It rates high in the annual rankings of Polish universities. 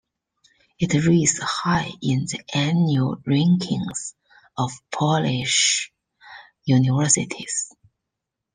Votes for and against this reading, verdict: 1, 2, rejected